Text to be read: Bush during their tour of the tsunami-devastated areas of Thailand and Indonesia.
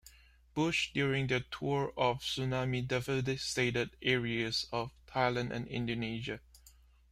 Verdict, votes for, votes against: accepted, 2, 1